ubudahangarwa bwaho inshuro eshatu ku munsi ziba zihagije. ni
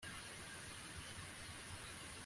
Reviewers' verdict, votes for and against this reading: rejected, 0, 2